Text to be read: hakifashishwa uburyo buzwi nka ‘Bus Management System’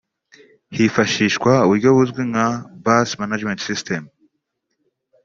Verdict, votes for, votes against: rejected, 1, 2